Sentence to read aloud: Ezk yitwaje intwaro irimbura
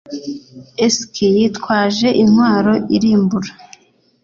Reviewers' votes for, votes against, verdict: 2, 0, accepted